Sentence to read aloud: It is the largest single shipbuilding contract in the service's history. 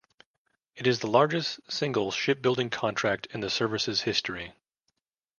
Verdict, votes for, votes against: accepted, 2, 0